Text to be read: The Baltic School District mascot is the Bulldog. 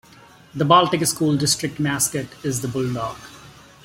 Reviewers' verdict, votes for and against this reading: accepted, 2, 0